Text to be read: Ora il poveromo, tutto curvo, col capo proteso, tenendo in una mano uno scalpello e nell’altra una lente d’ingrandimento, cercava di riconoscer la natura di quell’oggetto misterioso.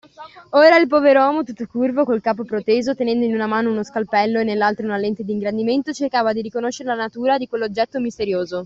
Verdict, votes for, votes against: accepted, 2, 0